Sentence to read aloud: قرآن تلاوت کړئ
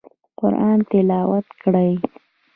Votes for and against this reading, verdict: 0, 3, rejected